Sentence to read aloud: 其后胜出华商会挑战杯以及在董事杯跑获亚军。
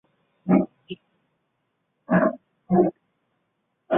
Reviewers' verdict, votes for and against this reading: rejected, 0, 4